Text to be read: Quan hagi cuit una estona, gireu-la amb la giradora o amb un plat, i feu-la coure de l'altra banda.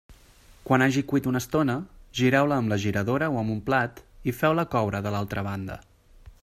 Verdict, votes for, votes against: accepted, 2, 0